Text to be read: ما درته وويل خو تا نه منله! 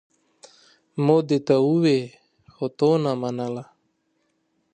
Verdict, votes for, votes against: accepted, 2, 0